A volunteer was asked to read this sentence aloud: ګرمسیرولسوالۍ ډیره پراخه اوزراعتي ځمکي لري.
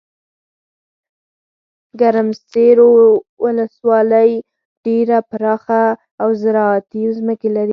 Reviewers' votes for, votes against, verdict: 4, 0, accepted